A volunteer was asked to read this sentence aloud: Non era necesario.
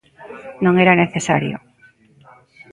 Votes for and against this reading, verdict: 2, 0, accepted